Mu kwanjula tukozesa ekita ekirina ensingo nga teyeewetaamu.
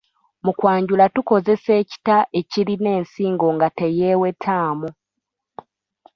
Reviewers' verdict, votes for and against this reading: rejected, 0, 2